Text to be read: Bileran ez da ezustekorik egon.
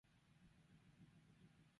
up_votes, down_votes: 0, 4